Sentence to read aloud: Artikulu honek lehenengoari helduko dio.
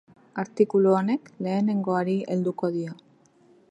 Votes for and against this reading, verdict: 2, 0, accepted